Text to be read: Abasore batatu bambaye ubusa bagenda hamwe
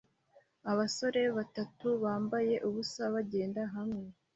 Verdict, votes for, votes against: accepted, 2, 0